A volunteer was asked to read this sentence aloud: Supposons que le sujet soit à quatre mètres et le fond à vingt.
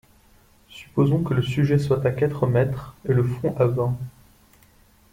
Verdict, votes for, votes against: accepted, 2, 0